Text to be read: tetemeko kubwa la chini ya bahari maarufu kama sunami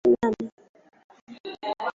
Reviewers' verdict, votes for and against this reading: rejected, 0, 2